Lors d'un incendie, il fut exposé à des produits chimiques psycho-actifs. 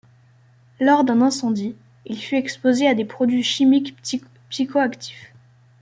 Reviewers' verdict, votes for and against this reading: rejected, 0, 2